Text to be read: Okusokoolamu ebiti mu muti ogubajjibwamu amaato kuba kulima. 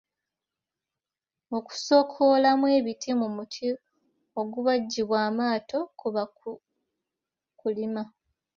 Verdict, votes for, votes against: rejected, 0, 2